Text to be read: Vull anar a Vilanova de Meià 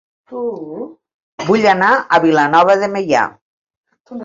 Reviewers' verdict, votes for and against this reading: rejected, 0, 2